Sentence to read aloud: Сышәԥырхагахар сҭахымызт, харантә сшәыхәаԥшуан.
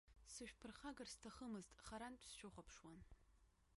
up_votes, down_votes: 0, 3